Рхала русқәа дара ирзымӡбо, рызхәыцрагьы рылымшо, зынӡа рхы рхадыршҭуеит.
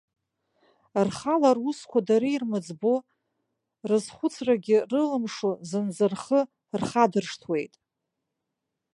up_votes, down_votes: 0, 2